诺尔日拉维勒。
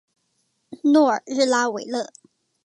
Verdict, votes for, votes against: rejected, 1, 2